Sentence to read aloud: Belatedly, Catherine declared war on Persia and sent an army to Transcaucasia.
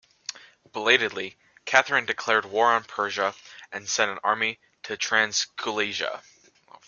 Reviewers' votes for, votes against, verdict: 1, 2, rejected